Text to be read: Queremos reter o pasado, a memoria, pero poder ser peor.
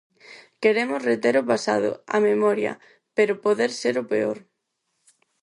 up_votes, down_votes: 0, 4